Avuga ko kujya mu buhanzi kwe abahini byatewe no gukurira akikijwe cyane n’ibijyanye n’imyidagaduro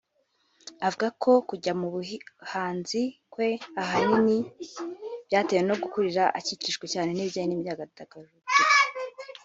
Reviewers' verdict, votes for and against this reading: rejected, 0, 2